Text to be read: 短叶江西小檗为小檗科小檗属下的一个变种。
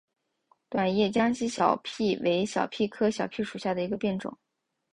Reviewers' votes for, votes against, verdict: 3, 0, accepted